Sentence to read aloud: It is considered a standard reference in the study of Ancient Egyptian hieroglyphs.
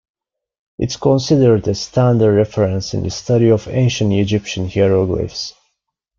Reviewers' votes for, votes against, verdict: 1, 2, rejected